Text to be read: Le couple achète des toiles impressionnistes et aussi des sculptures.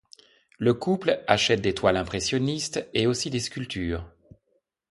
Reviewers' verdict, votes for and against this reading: accepted, 2, 0